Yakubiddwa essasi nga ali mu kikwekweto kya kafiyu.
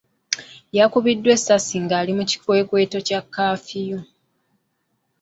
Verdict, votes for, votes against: accepted, 2, 1